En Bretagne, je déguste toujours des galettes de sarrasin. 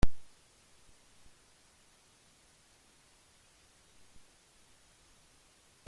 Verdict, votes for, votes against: rejected, 0, 2